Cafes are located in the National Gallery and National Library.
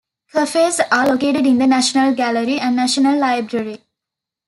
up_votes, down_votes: 2, 0